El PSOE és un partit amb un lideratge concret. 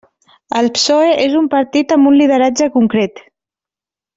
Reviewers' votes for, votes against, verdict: 2, 0, accepted